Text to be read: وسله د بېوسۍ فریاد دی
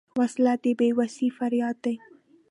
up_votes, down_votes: 2, 1